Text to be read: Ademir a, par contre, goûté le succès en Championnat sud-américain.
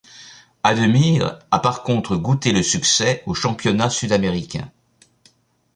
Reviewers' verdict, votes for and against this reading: rejected, 1, 2